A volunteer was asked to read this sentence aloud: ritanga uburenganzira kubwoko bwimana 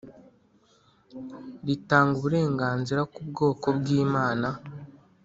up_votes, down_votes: 2, 0